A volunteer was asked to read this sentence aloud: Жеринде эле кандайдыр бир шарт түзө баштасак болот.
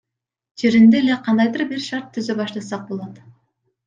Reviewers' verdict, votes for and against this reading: rejected, 1, 2